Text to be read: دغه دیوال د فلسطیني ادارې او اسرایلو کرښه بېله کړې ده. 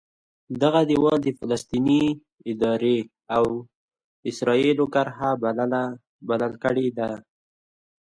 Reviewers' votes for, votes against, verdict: 0, 2, rejected